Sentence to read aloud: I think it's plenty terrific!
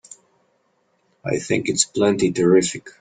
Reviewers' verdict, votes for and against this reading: accepted, 2, 0